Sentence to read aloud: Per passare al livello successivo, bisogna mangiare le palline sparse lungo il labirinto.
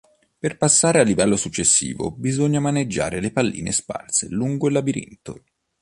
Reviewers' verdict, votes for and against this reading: rejected, 0, 2